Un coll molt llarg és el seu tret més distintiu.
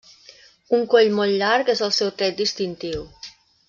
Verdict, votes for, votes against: rejected, 0, 2